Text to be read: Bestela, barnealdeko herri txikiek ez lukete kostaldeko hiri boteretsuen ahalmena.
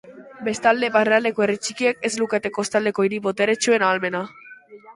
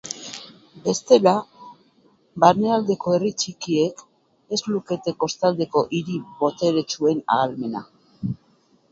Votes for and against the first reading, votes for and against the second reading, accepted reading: 2, 2, 6, 2, second